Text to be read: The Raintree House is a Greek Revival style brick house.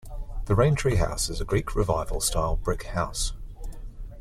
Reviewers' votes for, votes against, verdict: 2, 0, accepted